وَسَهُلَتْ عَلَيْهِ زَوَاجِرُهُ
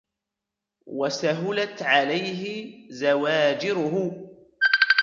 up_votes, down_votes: 1, 2